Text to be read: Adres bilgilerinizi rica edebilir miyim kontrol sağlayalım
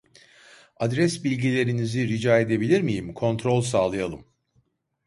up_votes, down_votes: 2, 0